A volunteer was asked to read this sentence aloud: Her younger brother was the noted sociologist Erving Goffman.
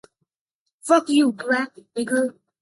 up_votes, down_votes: 0, 2